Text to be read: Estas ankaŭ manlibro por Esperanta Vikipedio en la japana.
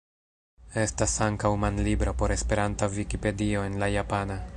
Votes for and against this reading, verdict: 2, 0, accepted